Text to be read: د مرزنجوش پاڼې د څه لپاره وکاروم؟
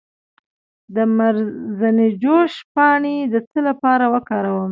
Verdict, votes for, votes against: accepted, 2, 0